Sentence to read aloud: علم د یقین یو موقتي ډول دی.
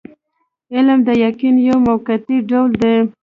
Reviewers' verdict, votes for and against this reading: accepted, 2, 0